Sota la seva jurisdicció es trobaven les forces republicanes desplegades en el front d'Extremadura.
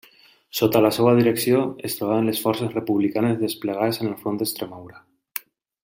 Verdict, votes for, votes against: rejected, 0, 2